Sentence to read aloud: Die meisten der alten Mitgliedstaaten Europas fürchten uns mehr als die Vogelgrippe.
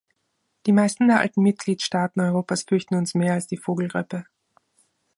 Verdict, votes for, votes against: accepted, 3, 0